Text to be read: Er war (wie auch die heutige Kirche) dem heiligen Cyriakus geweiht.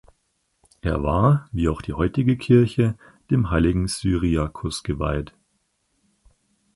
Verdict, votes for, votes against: accepted, 4, 0